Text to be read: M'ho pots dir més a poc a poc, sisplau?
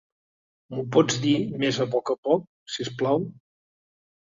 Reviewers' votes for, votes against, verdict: 2, 0, accepted